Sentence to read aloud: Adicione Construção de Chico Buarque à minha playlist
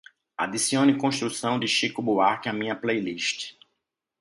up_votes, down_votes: 2, 0